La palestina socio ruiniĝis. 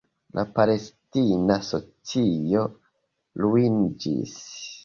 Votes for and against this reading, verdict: 0, 2, rejected